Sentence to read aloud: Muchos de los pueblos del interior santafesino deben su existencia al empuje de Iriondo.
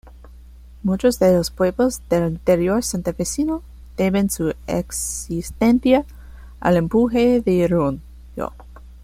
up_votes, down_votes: 0, 2